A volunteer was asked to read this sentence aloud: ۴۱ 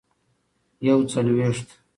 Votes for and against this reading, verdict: 0, 2, rejected